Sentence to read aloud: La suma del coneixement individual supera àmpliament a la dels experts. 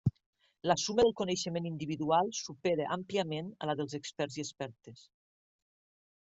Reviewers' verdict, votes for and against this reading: rejected, 0, 2